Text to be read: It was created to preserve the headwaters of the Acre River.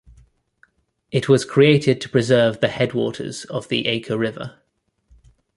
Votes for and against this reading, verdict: 2, 0, accepted